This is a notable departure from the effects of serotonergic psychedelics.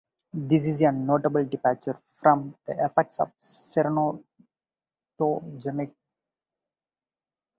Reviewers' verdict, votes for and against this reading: rejected, 0, 2